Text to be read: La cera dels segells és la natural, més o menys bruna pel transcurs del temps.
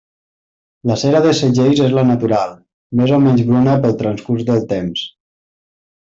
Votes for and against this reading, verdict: 2, 0, accepted